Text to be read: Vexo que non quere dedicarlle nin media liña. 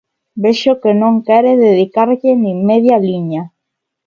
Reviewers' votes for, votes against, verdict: 2, 1, accepted